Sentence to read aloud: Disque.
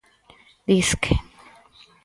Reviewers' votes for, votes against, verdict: 4, 0, accepted